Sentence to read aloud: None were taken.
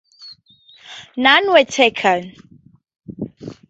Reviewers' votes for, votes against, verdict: 2, 2, rejected